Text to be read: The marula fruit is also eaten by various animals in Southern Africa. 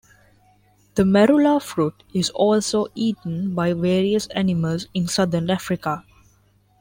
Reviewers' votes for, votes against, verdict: 3, 0, accepted